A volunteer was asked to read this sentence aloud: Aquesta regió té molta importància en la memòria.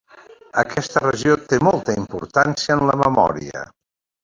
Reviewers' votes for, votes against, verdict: 2, 1, accepted